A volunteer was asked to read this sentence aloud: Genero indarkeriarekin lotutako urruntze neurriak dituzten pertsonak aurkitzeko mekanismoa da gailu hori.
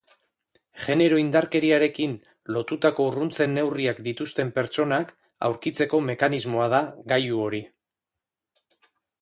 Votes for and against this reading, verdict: 2, 0, accepted